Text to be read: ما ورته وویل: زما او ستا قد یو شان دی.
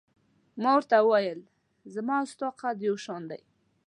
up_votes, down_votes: 3, 0